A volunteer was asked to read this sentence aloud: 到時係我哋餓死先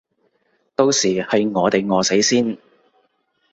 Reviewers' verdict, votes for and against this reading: accepted, 2, 0